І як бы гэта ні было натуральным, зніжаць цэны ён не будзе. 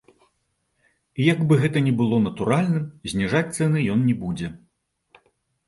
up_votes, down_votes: 2, 0